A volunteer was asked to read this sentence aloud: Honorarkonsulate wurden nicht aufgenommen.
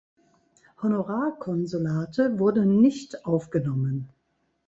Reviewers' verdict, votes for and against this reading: accepted, 2, 0